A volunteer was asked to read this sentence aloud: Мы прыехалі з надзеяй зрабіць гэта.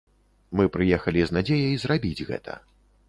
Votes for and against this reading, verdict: 2, 0, accepted